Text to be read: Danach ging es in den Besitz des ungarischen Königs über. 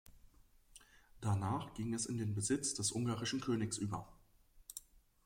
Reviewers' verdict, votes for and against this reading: accepted, 2, 0